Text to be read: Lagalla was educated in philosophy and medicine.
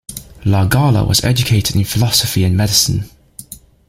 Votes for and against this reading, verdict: 2, 1, accepted